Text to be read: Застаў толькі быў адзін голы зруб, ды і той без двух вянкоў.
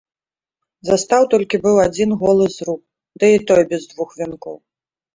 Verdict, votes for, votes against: accepted, 2, 0